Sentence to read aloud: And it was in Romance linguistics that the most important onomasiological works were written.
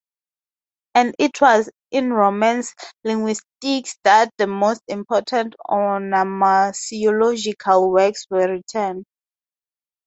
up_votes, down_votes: 2, 0